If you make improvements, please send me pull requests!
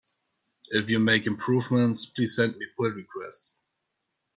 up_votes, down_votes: 2, 0